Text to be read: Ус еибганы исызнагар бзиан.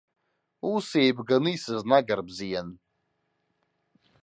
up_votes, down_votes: 2, 0